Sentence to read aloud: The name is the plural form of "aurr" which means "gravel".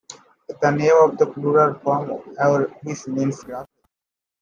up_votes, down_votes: 1, 2